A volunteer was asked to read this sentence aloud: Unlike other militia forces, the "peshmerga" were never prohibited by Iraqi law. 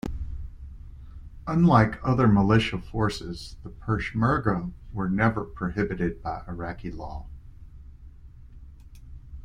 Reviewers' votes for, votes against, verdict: 2, 0, accepted